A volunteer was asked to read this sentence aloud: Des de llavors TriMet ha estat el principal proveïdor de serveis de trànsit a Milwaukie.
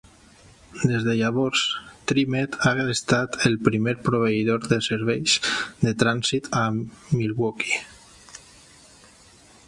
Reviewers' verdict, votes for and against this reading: rejected, 0, 2